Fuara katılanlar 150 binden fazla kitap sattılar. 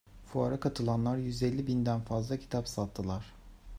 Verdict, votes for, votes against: rejected, 0, 2